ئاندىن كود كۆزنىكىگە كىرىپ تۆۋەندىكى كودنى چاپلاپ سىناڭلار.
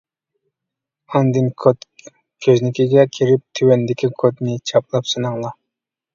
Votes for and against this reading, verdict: 1, 2, rejected